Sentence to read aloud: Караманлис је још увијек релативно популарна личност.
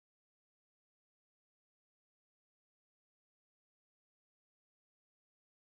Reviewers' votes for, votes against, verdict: 0, 2, rejected